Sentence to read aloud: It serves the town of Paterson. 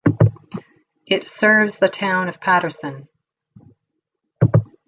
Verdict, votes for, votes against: accepted, 2, 0